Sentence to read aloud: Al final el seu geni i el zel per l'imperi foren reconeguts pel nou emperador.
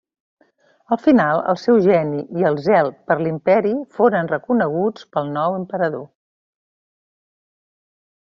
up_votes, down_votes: 3, 0